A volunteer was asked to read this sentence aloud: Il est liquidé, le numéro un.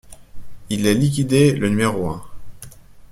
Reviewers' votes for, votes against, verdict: 2, 0, accepted